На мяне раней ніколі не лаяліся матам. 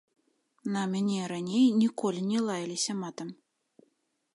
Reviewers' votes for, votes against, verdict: 2, 0, accepted